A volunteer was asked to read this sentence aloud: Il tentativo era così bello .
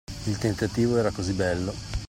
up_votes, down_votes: 2, 0